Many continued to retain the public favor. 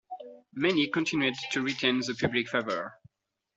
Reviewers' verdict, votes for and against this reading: accepted, 2, 0